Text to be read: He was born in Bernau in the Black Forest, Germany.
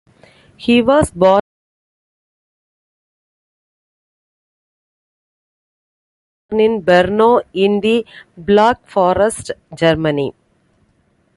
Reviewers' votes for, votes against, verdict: 0, 2, rejected